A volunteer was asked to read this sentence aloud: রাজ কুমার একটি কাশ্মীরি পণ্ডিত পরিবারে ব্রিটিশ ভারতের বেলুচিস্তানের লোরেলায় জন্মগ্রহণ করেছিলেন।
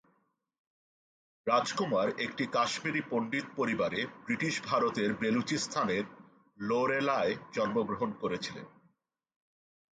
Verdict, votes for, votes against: accepted, 2, 0